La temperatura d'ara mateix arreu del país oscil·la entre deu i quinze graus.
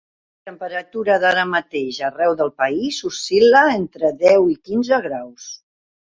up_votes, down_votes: 1, 2